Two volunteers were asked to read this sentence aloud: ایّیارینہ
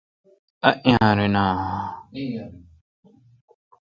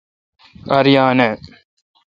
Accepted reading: first